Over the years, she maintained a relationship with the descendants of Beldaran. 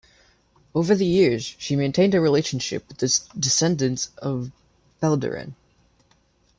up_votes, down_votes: 1, 2